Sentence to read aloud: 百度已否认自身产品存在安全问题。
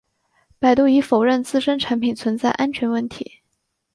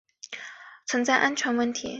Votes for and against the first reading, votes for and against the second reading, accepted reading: 2, 0, 0, 2, first